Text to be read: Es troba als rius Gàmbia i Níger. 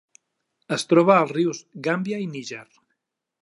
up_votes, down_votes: 3, 0